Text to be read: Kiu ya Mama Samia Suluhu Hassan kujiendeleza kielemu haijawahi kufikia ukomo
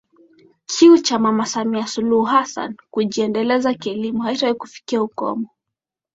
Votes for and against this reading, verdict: 2, 0, accepted